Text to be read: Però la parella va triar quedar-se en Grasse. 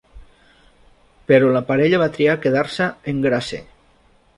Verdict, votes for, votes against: rejected, 0, 2